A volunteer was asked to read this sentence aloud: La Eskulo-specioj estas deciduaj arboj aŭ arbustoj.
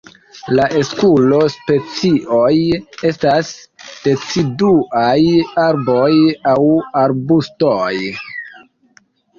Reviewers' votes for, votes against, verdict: 2, 1, accepted